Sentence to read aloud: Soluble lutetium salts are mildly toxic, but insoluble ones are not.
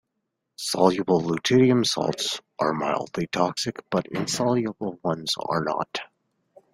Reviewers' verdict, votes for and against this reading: accepted, 2, 0